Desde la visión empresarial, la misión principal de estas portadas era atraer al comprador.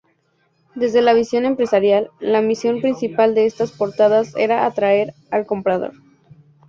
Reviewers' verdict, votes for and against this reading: accepted, 4, 0